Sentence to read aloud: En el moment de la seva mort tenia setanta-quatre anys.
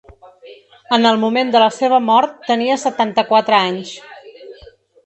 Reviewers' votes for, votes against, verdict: 1, 2, rejected